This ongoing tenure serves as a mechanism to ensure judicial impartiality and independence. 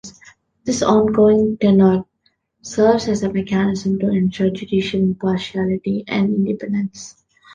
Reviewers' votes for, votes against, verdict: 1, 2, rejected